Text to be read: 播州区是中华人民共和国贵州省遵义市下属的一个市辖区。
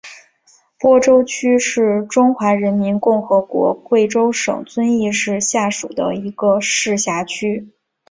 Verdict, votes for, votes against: accepted, 2, 0